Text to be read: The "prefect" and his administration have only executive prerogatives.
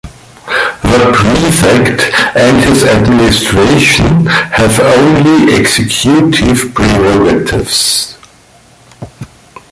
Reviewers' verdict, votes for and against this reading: rejected, 1, 2